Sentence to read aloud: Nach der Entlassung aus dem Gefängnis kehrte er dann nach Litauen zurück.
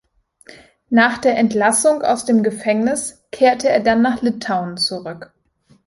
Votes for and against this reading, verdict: 2, 0, accepted